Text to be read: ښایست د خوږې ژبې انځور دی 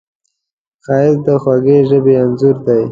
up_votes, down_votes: 2, 0